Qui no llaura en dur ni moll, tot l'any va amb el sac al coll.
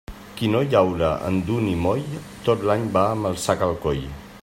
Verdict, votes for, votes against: rejected, 0, 2